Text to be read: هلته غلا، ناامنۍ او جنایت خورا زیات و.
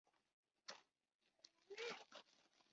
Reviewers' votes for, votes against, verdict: 2, 1, accepted